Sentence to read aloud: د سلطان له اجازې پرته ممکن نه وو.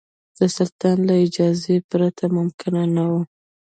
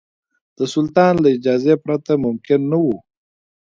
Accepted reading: second